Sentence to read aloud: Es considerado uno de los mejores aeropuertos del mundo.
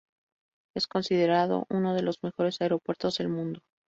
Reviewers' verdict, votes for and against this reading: accepted, 2, 0